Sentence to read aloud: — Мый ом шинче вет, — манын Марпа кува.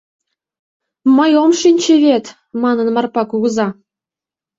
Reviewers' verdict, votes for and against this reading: rejected, 0, 2